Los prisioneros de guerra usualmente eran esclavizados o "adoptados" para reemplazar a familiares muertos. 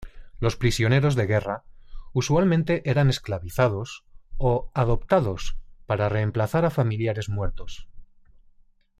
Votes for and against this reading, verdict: 3, 0, accepted